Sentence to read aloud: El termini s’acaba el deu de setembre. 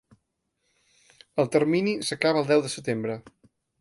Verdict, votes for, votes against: accepted, 2, 0